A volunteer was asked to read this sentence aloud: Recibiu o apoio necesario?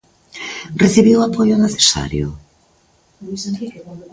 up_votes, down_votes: 1, 2